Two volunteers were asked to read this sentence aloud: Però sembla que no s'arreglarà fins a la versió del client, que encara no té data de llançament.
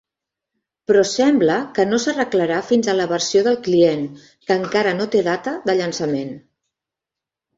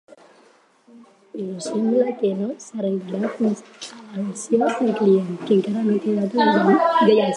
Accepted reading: first